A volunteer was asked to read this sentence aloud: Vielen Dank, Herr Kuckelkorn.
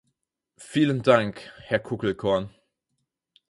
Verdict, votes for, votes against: accepted, 4, 0